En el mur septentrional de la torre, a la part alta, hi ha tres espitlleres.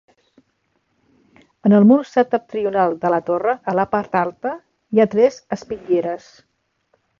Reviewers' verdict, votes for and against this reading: accepted, 2, 0